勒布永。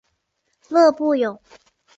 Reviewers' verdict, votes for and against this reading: accepted, 3, 0